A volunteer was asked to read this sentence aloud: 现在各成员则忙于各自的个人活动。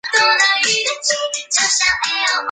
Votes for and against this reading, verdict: 0, 2, rejected